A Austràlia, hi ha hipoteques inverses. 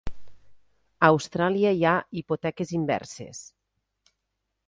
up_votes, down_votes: 3, 0